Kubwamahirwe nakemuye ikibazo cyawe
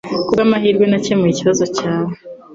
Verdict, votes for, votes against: accepted, 2, 0